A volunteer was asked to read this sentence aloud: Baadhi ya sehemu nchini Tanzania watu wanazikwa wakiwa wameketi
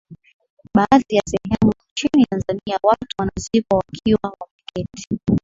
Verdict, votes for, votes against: accepted, 8, 4